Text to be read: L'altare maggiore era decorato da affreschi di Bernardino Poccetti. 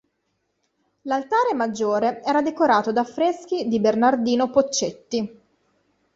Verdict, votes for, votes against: accepted, 2, 0